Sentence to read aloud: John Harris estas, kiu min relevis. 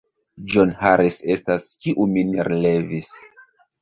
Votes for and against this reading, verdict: 1, 2, rejected